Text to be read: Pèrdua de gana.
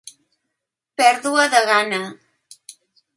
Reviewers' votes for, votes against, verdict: 3, 0, accepted